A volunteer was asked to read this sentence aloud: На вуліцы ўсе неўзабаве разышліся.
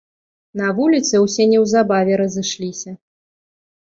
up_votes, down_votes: 2, 0